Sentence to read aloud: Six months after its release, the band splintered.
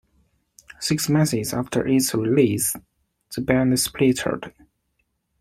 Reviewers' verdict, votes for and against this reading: rejected, 0, 2